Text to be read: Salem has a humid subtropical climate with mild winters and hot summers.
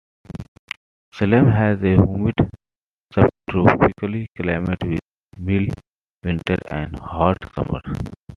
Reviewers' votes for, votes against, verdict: 2, 0, accepted